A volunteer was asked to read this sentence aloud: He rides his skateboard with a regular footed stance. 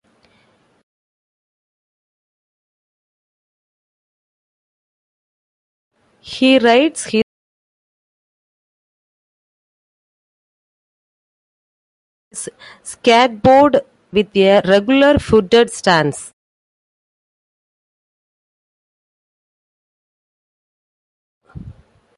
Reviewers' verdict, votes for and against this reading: rejected, 0, 2